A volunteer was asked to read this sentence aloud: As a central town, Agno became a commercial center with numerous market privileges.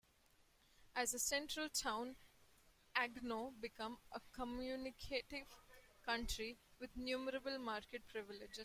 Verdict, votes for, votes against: rejected, 0, 2